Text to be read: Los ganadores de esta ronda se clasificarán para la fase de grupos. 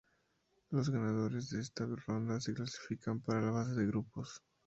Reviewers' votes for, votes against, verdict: 2, 0, accepted